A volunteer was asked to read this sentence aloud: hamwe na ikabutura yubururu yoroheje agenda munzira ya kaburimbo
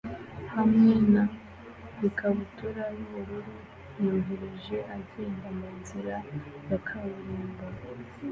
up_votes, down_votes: 2, 1